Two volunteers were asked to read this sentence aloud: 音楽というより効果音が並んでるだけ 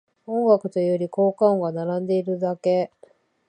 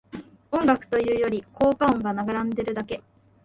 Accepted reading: first